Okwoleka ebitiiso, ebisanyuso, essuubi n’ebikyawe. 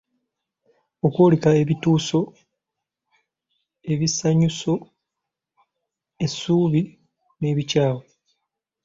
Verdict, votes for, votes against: rejected, 0, 2